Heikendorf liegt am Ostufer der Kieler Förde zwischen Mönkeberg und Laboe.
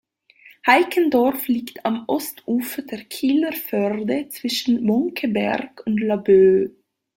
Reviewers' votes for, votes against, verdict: 0, 2, rejected